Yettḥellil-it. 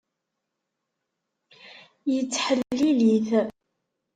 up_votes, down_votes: 1, 2